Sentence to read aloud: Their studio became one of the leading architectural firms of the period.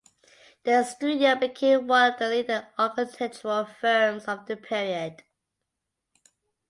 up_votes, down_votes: 1, 2